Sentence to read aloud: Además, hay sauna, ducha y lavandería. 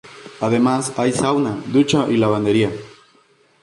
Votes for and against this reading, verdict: 2, 0, accepted